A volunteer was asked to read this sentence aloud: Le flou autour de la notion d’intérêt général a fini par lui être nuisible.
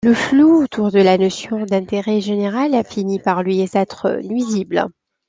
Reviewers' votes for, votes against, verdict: 2, 1, accepted